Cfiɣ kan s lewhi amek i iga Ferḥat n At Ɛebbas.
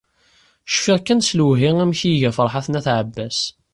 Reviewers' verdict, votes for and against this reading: accepted, 2, 0